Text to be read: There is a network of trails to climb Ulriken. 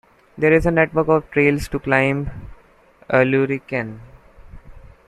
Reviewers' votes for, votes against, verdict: 2, 0, accepted